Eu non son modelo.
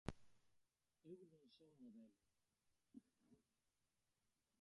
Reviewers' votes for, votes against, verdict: 0, 2, rejected